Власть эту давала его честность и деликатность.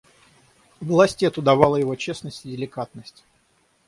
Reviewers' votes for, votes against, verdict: 3, 3, rejected